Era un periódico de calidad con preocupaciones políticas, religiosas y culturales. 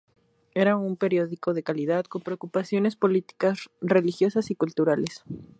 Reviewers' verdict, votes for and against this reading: accepted, 2, 0